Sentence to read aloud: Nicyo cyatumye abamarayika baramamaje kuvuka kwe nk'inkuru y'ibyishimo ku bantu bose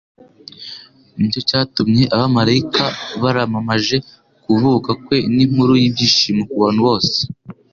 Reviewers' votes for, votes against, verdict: 2, 0, accepted